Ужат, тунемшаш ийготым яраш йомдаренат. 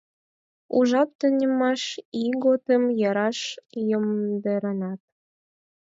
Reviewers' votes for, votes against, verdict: 2, 4, rejected